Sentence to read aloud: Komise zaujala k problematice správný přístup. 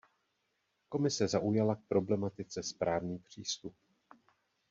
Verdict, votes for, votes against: accepted, 2, 0